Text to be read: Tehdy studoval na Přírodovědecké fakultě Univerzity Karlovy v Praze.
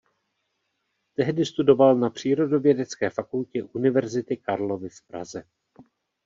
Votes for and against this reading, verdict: 1, 2, rejected